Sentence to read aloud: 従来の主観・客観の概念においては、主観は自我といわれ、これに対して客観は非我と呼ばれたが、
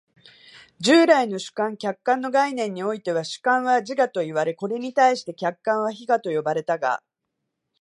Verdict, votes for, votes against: rejected, 2, 2